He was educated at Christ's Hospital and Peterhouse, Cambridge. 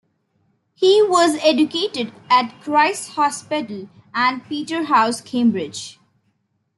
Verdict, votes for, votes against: accepted, 2, 1